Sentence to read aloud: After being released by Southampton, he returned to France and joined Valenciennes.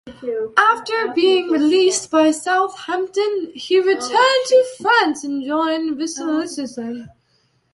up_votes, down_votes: 0, 2